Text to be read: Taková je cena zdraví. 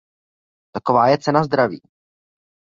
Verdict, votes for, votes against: accepted, 2, 0